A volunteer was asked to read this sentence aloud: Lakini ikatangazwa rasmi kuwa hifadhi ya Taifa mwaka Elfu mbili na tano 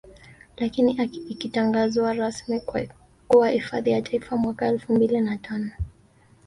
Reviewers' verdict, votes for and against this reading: accepted, 2, 0